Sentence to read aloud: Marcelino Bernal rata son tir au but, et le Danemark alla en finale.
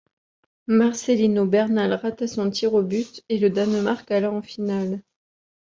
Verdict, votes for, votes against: accepted, 2, 1